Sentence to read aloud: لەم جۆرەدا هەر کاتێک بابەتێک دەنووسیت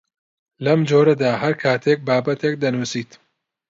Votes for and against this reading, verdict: 2, 0, accepted